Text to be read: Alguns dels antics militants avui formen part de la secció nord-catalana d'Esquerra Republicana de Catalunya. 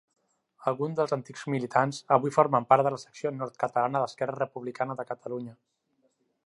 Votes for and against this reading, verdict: 3, 1, accepted